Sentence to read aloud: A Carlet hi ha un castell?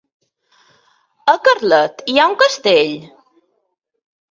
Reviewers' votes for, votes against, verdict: 2, 0, accepted